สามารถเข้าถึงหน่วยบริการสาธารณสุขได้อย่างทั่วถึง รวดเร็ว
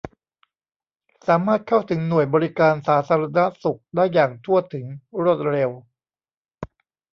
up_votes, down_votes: 1, 2